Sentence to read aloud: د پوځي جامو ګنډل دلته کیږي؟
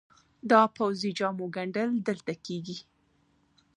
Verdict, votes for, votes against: accepted, 2, 1